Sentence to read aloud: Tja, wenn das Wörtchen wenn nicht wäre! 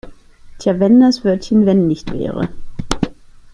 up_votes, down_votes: 2, 0